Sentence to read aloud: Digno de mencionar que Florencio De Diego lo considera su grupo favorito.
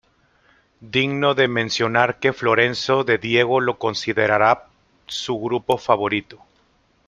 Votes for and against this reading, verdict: 1, 2, rejected